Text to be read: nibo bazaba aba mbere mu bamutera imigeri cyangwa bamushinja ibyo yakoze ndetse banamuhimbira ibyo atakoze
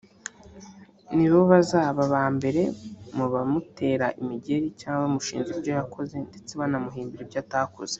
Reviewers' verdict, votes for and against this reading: accepted, 2, 1